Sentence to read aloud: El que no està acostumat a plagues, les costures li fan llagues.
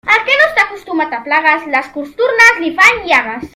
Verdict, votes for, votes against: rejected, 0, 2